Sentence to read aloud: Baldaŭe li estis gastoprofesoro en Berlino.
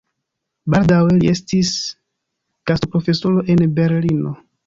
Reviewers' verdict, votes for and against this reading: rejected, 1, 2